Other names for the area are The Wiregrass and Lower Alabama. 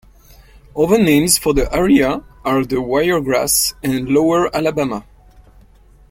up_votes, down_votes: 2, 0